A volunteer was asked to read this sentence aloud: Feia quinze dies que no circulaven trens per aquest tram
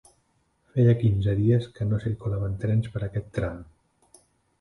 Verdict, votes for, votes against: accepted, 2, 0